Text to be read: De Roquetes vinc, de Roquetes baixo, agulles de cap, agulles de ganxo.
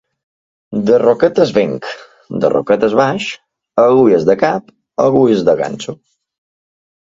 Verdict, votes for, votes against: rejected, 0, 2